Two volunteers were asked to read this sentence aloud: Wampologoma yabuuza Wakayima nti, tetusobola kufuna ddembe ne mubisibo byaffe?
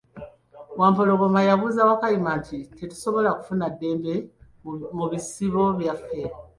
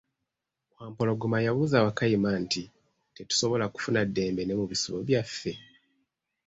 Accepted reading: second